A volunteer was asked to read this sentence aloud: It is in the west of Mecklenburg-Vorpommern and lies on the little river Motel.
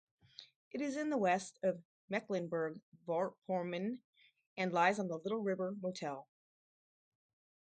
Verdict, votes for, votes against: rejected, 2, 2